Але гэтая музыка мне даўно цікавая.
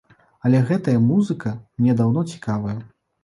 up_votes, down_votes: 2, 0